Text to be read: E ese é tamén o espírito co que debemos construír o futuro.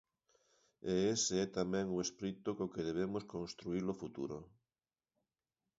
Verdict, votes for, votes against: accepted, 2, 1